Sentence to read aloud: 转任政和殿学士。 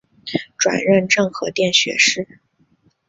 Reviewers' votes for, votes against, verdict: 3, 0, accepted